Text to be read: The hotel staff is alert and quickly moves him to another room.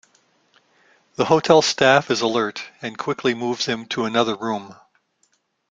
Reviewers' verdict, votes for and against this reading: accepted, 2, 0